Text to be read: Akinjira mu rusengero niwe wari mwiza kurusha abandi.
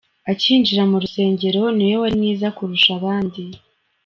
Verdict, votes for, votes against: accepted, 2, 0